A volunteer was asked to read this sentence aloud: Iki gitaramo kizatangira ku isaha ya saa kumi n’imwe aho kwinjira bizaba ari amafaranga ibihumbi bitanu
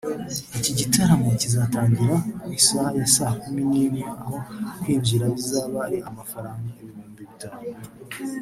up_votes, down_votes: 1, 2